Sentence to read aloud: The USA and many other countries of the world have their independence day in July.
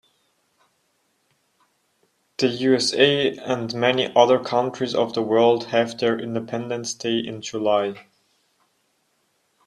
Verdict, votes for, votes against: accepted, 2, 0